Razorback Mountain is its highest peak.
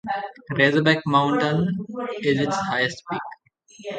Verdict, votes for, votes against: rejected, 2, 2